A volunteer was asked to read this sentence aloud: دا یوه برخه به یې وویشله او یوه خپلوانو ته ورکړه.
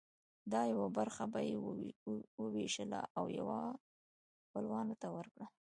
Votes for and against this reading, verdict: 2, 0, accepted